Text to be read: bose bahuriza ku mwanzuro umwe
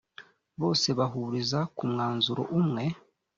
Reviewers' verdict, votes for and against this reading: accepted, 2, 0